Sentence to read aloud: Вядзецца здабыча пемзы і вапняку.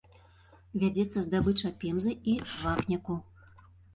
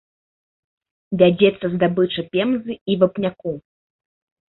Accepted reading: second